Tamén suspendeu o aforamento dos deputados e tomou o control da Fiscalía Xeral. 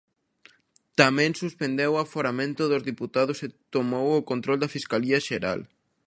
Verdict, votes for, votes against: rejected, 1, 2